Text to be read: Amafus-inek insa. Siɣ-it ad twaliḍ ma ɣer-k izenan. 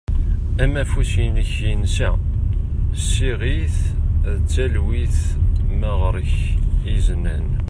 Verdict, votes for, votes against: rejected, 1, 2